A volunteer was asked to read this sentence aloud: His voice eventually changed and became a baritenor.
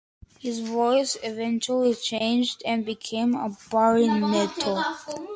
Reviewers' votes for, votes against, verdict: 0, 2, rejected